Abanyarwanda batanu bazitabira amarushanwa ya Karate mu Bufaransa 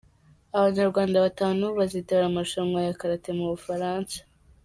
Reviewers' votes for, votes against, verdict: 2, 1, accepted